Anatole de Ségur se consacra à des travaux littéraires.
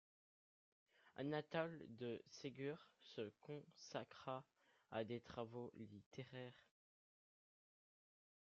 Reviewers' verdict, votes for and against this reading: rejected, 1, 2